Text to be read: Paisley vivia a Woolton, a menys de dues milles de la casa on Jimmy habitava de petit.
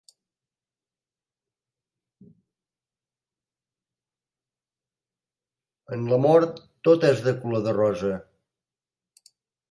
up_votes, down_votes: 0, 2